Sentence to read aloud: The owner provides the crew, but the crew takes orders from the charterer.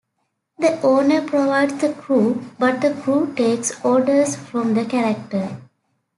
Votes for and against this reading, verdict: 0, 2, rejected